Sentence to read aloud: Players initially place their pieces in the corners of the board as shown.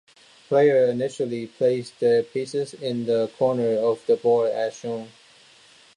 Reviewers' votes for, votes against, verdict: 2, 0, accepted